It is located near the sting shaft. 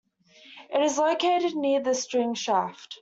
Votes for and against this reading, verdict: 2, 1, accepted